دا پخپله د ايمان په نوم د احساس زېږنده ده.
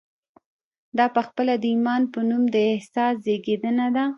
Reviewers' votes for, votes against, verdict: 0, 2, rejected